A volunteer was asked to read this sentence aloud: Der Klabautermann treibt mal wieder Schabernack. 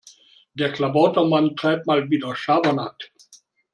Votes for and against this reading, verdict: 2, 0, accepted